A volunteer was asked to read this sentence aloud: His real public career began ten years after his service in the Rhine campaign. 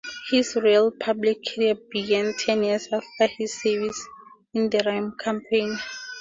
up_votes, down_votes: 2, 0